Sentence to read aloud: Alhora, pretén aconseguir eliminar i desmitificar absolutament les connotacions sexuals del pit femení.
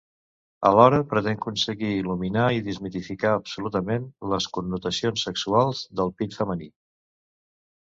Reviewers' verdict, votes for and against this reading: rejected, 1, 2